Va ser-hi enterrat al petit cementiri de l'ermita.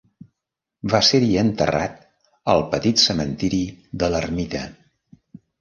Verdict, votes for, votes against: accepted, 2, 1